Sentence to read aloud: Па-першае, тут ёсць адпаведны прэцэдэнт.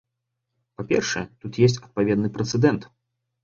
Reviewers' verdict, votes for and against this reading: rejected, 1, 2